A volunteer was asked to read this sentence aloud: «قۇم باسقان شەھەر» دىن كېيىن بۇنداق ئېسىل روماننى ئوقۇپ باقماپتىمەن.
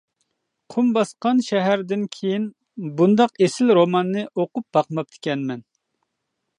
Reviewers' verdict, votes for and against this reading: rejected, 0, 2